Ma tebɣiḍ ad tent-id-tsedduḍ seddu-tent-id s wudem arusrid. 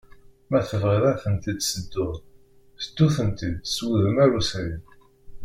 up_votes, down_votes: 1, 2